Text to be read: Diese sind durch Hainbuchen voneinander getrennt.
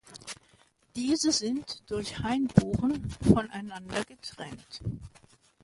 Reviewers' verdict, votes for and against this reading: accepted, 2, 0